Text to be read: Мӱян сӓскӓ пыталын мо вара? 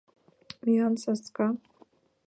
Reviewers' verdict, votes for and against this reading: rejected, 0, 2